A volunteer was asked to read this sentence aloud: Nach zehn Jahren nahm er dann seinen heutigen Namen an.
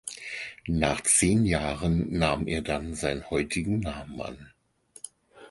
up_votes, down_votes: 2, 4